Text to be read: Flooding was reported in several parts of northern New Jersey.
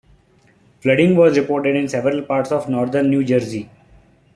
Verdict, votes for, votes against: accepted, 2, 1